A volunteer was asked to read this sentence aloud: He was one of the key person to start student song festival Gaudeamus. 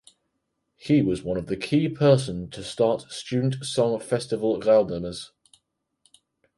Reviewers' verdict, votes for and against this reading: accepted, 4, 0